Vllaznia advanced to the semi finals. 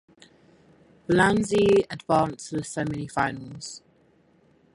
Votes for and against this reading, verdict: 0, 4, rejected